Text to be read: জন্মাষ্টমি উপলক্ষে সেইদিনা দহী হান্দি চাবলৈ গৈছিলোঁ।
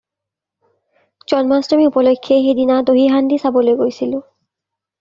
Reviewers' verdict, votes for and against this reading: accepted, 2, 0